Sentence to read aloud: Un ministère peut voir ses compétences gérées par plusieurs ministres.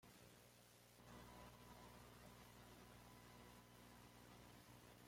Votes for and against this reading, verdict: 1, 2, rejected